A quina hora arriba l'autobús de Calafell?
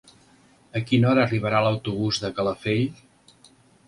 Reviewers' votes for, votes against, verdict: 1, 2, rejected